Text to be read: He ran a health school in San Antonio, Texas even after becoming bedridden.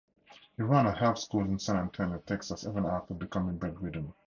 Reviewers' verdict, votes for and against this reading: accepted, 4, 0